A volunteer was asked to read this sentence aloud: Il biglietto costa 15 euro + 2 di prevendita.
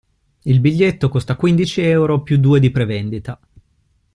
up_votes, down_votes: 0, 2